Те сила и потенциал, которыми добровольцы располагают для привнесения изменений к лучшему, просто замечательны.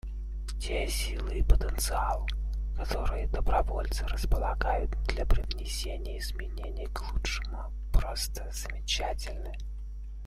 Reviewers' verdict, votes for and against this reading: rejected, 0, 2